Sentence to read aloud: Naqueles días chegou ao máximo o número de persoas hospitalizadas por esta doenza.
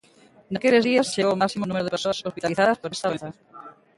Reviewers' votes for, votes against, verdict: 0, 2, rejected